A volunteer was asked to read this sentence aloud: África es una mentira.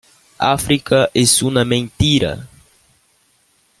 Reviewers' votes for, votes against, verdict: 2, 1, accepted